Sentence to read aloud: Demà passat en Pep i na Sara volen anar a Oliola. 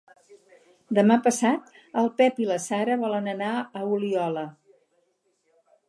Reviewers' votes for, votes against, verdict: 2, 4, rejected